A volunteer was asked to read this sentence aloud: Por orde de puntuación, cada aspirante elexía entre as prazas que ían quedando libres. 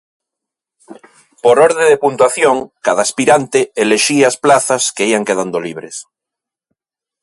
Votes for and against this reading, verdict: 0, 2, rejected